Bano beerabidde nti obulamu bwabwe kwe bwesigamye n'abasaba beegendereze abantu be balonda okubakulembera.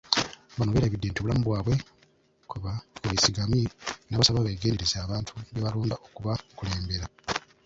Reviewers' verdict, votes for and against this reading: rejected, 0, 2